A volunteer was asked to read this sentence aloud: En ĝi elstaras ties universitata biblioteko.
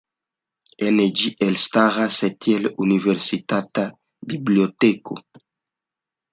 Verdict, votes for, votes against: rejected, 1, 2